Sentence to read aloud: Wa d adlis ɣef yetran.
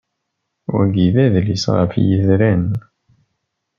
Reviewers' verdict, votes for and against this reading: rejected, 0, 2